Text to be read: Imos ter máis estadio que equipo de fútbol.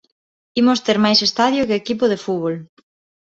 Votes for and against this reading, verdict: 1, 2, rejected